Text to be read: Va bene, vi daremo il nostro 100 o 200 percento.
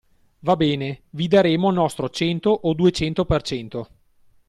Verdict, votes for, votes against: rejected, 0, 2